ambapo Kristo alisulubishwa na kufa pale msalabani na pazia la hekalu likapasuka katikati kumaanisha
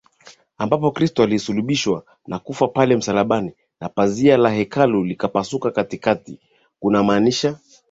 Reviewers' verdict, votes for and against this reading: rejected, 0, 3